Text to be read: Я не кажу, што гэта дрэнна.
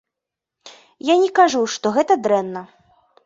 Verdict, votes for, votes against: accepted, 2, 0